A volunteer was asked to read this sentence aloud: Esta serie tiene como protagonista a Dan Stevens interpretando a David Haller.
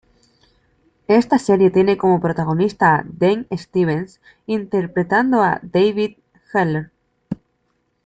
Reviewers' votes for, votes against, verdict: 2, 1, accepted